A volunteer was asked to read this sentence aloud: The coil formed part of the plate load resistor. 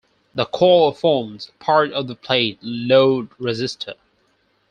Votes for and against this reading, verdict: 4, 0, accepted